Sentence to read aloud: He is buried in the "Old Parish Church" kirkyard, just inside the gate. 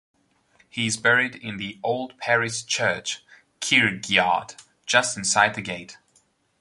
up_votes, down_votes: 1, 2